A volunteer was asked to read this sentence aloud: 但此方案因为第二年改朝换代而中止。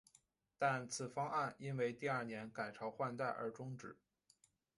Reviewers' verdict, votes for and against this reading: accepted, 2, 0